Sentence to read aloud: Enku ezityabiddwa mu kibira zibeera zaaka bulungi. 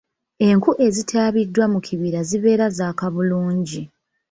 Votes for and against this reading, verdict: 3, 0, accepted